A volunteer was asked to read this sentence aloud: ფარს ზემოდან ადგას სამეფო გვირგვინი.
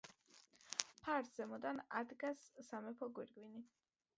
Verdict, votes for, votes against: accepted, 2, 1